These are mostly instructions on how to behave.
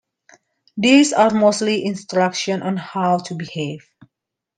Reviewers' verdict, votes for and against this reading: accepted, 2, 1